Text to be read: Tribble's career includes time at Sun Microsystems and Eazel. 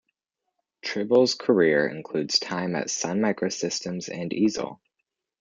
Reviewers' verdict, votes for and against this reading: accepted, 2, 0